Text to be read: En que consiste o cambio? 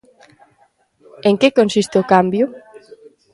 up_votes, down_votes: 2, 0